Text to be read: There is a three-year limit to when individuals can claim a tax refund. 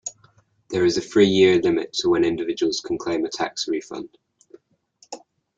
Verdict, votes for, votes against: accepted, 2, 0